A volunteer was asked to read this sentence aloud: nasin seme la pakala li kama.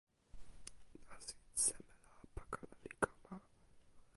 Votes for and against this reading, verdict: 1, 2, rejected